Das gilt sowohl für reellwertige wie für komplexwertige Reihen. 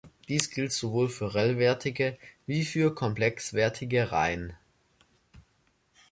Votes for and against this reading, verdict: 1, 3, rejected